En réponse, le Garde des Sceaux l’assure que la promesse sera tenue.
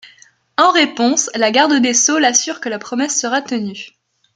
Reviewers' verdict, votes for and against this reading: accepted, 2, 1